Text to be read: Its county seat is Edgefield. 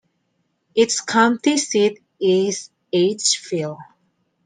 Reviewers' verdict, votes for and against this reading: accepted, 2, 0